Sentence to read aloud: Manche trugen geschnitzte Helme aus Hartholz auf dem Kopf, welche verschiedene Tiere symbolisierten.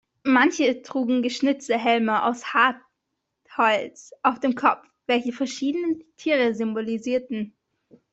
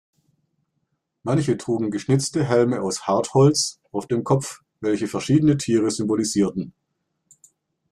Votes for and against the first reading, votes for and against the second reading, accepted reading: 0, 2, 2, 0, second